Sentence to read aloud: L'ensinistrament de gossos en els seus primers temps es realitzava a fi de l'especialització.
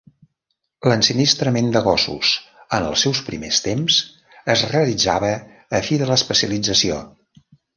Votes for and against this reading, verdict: 0, 2, rejected